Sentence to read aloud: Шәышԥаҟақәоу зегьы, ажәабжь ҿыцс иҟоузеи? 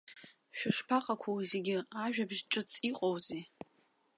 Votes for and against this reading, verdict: 2, 1, accepted